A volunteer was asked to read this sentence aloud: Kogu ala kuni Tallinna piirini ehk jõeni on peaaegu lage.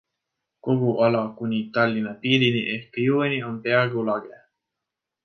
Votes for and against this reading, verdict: 2, 0, accepted